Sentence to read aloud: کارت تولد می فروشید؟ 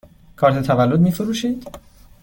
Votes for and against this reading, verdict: 2, 0, accepted